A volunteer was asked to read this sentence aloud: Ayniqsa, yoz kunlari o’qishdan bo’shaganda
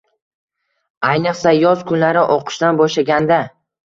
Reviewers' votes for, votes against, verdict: 2, 0, accepted